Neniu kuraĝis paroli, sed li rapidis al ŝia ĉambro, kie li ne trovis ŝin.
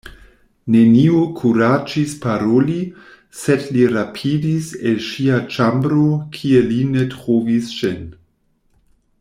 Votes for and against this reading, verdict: 1, 2, rejected